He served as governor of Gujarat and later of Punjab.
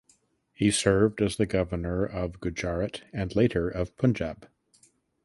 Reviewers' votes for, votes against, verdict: 0, 2, rejected